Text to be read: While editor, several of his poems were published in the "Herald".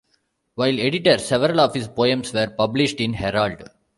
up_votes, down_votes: 1, 2